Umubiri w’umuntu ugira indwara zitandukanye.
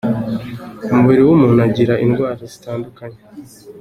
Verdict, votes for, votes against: accepted, 2, 0